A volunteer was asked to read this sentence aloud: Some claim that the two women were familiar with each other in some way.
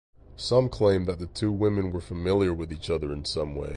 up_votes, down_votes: 4, 0